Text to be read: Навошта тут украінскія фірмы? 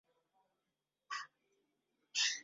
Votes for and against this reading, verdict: 0, 3, rejected